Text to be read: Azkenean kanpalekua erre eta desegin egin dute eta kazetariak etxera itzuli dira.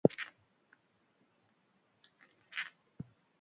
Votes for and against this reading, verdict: 0, 2, rejected